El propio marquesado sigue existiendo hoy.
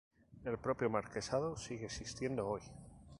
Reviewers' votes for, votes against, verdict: 2, 0, accepted